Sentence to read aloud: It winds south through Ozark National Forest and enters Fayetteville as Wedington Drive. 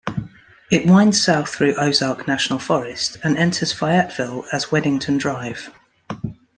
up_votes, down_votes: 2, 0